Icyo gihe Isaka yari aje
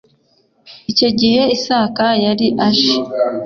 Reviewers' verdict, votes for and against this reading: accepted, 3, 0